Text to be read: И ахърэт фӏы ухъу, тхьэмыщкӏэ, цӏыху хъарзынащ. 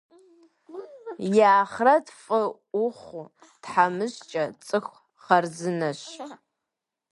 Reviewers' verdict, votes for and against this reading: accepted, 2, 0